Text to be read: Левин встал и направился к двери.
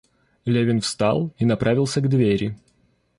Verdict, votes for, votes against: accepted, 2, 0